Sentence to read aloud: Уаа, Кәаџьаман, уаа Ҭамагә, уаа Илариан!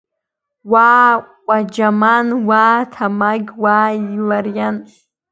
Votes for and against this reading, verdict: 1, 2, rejected